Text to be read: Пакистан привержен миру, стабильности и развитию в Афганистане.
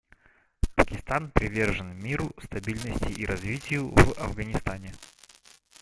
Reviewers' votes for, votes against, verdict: 1, 2, rejected